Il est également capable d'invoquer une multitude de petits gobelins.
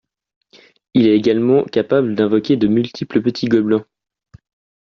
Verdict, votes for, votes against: rejected, 0, 3